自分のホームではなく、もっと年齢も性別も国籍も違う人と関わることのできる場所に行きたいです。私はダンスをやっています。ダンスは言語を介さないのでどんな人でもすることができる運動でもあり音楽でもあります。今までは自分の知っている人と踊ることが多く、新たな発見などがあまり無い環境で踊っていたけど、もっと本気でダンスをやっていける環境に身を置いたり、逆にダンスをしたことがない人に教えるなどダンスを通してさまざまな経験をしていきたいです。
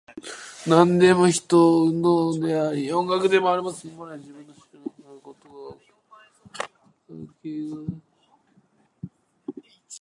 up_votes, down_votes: 0, 2